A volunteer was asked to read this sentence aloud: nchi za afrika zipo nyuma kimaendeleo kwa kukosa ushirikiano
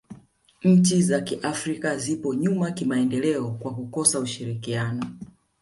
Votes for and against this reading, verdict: 1, 2, rejected